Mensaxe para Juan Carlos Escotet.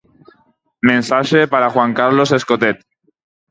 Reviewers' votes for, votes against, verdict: 4, 0, accepted